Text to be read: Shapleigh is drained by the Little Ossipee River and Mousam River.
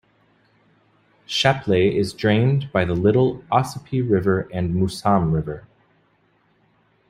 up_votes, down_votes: 2, 0